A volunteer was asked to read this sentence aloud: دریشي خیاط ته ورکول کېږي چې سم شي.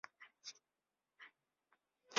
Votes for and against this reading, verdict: 0, 2, rejected